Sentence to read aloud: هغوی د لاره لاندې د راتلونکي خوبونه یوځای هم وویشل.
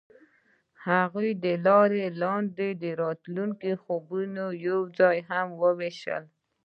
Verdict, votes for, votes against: rejected, 1, 2